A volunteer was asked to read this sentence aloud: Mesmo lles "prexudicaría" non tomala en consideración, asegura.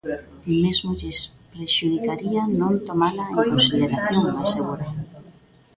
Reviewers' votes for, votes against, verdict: 0, 2, rejected